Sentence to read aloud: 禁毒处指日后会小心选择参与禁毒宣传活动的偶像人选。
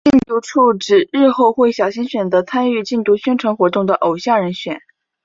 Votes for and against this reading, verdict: 2, 0, accepted